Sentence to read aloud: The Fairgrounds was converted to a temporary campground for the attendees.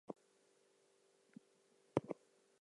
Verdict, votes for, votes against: rejected, 0, 2